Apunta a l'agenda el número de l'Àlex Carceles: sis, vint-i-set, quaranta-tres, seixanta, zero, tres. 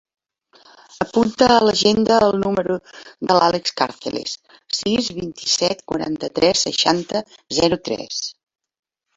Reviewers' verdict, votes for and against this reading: accepted, 3, 1